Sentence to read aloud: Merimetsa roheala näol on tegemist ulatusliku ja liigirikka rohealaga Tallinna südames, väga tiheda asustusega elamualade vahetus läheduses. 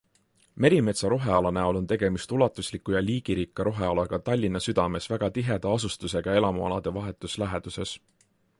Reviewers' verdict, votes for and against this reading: accepted, 3, 0